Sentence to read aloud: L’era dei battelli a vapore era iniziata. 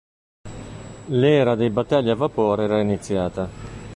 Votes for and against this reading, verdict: 2, 0, accepted